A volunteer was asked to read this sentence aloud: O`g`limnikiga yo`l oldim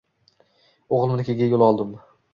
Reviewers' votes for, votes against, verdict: 1, 2, rejected